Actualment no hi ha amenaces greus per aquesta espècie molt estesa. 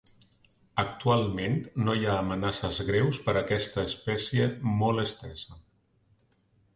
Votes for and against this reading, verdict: 2, 0, accepted